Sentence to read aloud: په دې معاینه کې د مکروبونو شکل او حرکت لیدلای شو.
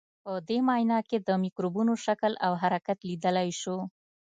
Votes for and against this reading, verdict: 2, 1, accepted